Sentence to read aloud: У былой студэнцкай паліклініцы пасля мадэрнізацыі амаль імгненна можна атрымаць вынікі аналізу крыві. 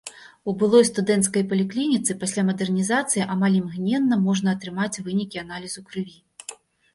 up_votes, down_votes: 2, 0